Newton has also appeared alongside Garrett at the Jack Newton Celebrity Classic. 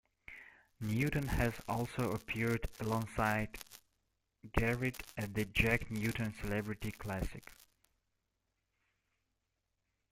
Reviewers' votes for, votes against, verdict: 1, 3, rejected